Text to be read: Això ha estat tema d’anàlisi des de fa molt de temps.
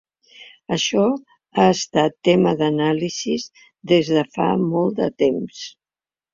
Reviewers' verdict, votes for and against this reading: rejected, 2, 3